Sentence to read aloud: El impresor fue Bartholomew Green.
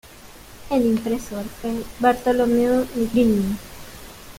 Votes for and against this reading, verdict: 0, 2, rejected